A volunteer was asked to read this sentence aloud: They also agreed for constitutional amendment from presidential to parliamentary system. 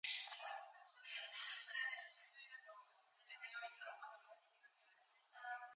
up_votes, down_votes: 0, 4